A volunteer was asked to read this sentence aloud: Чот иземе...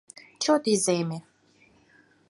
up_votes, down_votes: 4, 0